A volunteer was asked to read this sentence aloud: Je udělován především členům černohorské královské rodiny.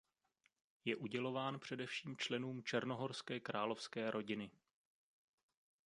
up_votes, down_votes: 2, 0